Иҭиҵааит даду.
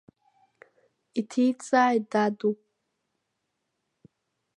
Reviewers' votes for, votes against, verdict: 1, 2, rejected